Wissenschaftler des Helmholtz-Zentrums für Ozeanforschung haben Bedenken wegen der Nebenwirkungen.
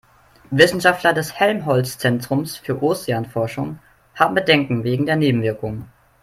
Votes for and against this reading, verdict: 3, 0, accepted